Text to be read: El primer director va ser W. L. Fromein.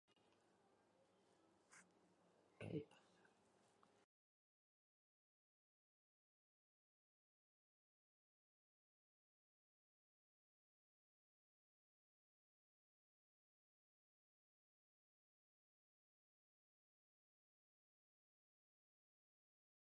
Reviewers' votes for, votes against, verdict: 0, 2, rejected